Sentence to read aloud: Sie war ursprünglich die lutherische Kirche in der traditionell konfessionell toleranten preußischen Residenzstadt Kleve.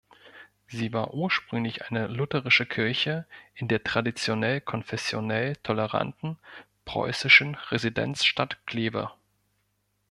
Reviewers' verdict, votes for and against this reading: rejected, 1, 2